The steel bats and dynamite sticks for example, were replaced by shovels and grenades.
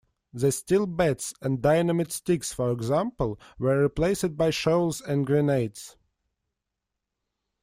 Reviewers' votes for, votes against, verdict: 1, 2, rejected